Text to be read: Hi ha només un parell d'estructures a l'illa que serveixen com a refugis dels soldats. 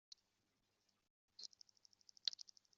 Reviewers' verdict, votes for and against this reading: rejected, 0, 2